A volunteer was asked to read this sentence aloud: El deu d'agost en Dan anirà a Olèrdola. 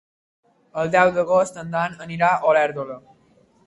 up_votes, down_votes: 3, 0